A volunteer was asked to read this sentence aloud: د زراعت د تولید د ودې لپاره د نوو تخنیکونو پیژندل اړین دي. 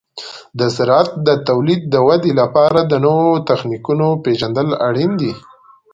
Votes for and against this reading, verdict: 2, 0, accepted